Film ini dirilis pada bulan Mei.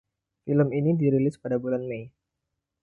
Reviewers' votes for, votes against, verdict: 2, 0, accepted